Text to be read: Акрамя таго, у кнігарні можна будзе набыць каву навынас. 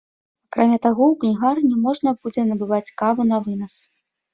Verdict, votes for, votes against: rejected, 0, 2